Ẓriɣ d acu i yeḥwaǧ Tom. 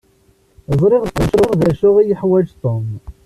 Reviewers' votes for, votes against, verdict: 1, 2, rejected